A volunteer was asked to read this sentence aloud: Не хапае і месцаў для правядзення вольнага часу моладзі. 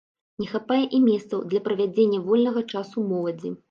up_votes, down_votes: 2, 0